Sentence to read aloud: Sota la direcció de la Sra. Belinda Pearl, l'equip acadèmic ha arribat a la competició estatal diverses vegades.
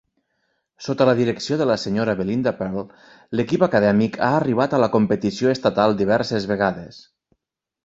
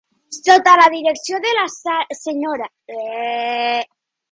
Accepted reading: first